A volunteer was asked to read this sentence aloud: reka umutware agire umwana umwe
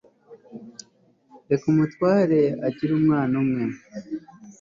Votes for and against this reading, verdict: 2, 0, accepted